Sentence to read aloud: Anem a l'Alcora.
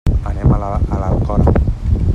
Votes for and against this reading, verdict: 0, 2, rejected